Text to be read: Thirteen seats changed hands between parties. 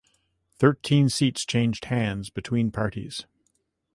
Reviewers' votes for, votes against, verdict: 2, 0, accepted